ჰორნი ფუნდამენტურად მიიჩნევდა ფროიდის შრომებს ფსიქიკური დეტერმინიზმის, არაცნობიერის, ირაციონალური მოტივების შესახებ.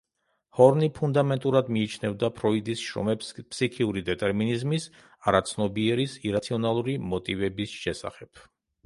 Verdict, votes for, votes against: rejected, 0, 2